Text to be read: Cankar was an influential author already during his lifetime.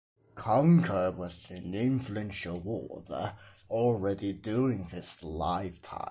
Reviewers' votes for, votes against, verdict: 2, 1, accepted